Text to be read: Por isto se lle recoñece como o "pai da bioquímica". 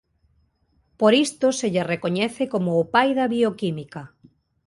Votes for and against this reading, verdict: 2, 0, accepted